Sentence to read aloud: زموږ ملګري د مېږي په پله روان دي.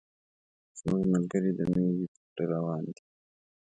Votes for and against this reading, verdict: 2, 0, accepted